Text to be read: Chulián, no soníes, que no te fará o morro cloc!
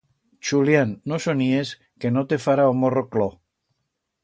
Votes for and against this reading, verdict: 2, 0, accepted